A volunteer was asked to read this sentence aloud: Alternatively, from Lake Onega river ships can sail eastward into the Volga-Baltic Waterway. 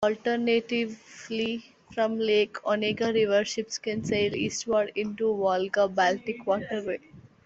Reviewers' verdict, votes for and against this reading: rejected, 0, 2